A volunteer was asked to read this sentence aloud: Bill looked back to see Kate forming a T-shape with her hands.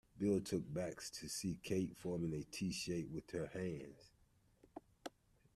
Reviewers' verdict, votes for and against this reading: rejected, 0, 2